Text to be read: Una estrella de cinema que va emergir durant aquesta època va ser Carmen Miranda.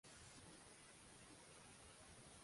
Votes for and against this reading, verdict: 0, 2, rejected